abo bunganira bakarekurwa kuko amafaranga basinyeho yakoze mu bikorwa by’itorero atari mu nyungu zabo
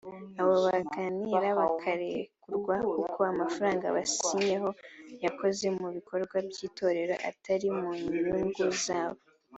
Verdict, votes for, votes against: accepted, 3, 1